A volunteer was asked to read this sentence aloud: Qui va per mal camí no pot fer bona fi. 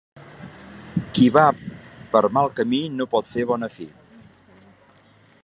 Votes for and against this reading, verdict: 2, 0, accepted